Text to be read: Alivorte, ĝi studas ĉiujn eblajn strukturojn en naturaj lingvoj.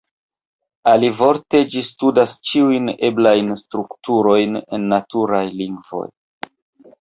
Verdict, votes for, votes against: rejected, 0, 2